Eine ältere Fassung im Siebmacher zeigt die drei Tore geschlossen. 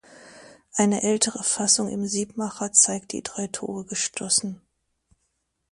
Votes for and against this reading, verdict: 0, 2, rejected